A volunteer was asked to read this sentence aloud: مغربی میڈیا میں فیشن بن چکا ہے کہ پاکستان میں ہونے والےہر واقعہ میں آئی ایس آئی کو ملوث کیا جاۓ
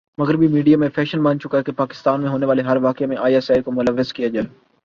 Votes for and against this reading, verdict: 4, 0, accepted